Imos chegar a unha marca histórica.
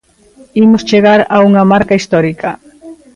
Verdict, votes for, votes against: rejected, 1, 2